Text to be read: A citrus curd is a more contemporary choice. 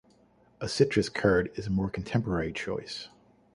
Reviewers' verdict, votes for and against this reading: accepted, 2, 0